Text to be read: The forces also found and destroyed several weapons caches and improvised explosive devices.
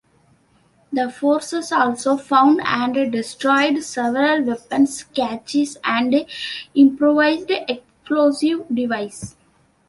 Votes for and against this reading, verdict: 1, 2, rejected